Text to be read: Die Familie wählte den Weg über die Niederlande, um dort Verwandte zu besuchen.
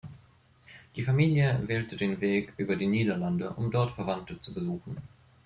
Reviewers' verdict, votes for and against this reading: accepted, 2, 1